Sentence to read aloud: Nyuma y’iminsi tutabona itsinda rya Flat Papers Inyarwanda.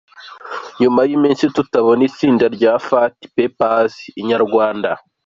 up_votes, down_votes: 2, 1